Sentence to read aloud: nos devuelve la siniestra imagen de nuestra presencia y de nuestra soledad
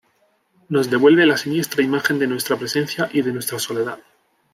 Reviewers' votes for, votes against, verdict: 2, 0, accepted